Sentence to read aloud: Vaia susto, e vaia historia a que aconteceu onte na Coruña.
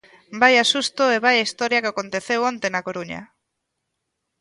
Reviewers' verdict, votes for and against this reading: accepted, 2, 0